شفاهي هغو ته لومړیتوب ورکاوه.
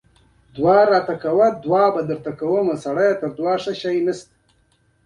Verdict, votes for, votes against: rejected, 1, 2